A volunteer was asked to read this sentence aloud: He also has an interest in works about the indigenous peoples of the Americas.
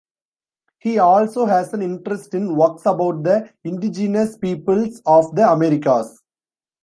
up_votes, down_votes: 2, 0